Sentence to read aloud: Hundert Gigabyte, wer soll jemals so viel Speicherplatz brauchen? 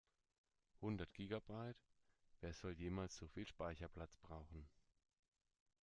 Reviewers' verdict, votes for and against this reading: accepted, 2, 0